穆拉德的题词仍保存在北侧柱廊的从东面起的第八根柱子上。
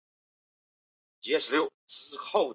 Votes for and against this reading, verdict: 0, 2, rejected